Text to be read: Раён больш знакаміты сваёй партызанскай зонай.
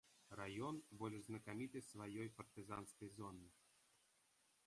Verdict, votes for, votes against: rejected, 2, 3